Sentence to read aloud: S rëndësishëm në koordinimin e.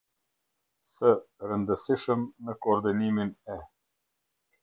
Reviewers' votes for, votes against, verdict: 0, 2, rejected